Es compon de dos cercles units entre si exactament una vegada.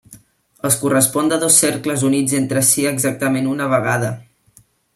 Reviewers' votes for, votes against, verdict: 1, 2, rejected